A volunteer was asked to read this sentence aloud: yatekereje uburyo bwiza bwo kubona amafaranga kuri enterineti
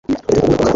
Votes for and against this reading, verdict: 1, 2, rejected